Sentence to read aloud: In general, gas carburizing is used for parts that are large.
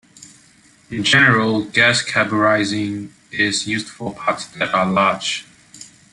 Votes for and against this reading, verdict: 2, 0, accepted